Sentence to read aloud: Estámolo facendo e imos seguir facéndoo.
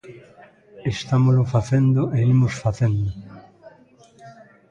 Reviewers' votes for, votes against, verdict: 0, 2, rejected